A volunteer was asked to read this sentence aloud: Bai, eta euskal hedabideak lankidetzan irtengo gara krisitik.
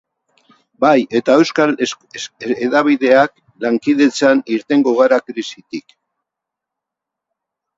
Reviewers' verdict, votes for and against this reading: rejected, 0, 4